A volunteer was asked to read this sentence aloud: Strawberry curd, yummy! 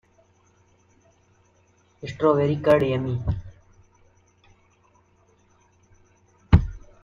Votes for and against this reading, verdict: 0, 2, rejected